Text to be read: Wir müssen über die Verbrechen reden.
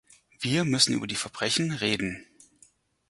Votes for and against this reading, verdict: 4, 0, accepted